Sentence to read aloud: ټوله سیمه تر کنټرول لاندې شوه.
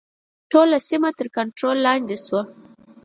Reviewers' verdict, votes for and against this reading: accepted, 4, 0